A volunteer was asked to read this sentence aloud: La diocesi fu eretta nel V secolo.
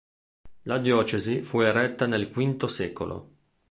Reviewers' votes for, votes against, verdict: 2, 0, accepted